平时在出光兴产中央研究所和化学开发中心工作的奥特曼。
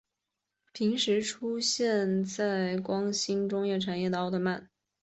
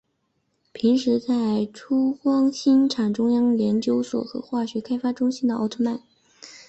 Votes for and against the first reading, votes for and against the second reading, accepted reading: 0, 2, 6, 2, second